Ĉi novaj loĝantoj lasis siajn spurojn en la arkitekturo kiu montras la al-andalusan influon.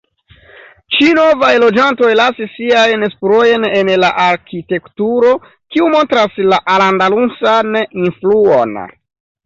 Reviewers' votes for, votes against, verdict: 1, 2, rejected